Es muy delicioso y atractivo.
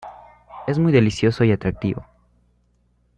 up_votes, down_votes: 2, 0